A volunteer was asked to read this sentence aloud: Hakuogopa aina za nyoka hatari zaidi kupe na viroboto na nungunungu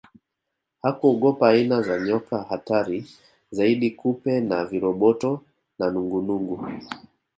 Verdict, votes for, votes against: accepted, 2, 0